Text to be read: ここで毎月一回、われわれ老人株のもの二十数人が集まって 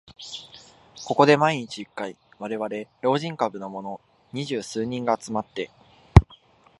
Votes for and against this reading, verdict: 1, 2, rejected